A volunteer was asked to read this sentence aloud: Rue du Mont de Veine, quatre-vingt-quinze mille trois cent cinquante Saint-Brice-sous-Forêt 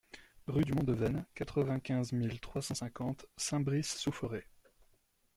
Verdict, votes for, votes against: rejected, 1, 2